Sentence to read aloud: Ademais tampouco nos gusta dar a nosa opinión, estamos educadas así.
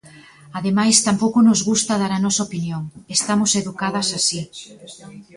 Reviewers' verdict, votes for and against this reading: accepted, 2, 0